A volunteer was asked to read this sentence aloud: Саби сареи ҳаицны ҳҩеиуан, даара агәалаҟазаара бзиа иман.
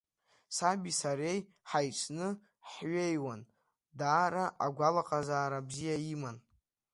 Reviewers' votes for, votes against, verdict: 2, 1, accepted